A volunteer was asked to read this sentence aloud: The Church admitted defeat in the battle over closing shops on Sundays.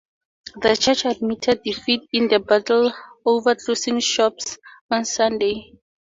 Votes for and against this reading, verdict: 2, 2, rejected